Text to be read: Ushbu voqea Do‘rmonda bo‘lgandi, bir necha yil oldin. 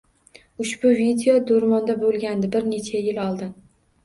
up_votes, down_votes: 1, 2